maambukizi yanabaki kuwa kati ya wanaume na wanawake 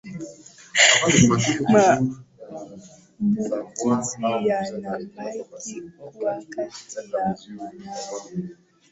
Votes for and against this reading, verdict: 0, 2, rejected